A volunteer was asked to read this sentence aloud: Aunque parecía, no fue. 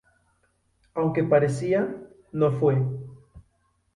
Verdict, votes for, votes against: accepted, 2, 0